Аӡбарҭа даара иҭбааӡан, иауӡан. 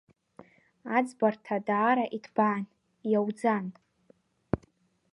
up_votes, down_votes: 0, 2